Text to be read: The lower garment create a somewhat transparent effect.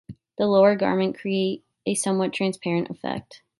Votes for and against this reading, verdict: 3, 0, accepted